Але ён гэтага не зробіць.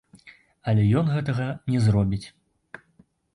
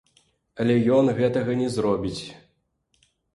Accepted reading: second